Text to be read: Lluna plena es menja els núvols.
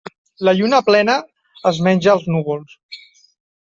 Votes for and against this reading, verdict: 1, 2, rejected